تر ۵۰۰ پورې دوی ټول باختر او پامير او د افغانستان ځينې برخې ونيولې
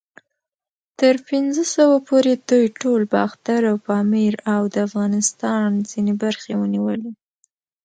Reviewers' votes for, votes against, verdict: 0, 2, rejected